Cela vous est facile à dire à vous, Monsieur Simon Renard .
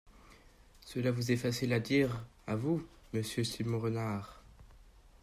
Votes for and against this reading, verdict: 1, 2, rejected